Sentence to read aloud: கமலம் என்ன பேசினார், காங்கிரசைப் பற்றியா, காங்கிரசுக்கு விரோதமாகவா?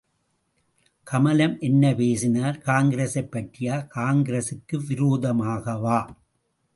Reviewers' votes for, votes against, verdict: 2, 0, accepted